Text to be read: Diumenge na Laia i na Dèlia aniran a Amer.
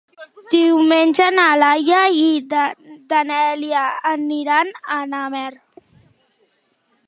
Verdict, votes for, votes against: rejected, 0, 2